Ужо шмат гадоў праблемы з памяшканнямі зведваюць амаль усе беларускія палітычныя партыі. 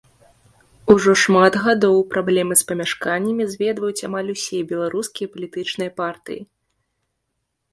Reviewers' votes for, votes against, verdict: 2, 0, accepted